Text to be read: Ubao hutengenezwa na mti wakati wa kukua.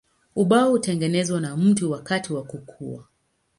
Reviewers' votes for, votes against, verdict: 10, 1, accepted